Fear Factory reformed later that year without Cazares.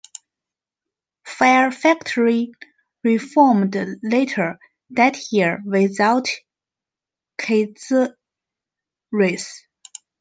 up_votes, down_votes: 0, 2